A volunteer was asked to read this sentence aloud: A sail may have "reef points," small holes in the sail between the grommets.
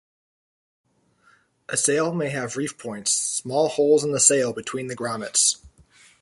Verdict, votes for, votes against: accepted, 2, 0